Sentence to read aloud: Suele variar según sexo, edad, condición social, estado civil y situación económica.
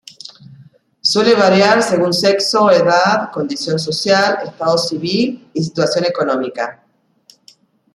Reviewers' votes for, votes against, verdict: 2, 0, accepted